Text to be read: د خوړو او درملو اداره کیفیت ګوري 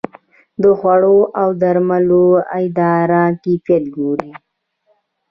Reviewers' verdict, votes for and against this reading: rejected, 0, 2